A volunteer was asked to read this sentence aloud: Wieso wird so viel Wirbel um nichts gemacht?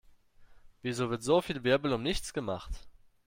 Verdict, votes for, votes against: accepted, 2, 0